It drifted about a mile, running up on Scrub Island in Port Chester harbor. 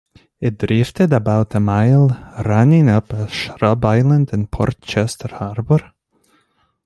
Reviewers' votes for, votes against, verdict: 2, 0, accepted